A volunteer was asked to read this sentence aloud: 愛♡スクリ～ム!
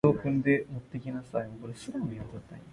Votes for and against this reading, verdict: 0, 2, rejected